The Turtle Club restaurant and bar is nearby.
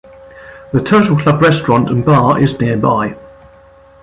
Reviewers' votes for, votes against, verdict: 1, 2, rejected